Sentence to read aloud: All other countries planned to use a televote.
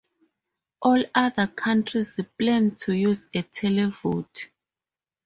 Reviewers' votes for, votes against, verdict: 0, 2, rejected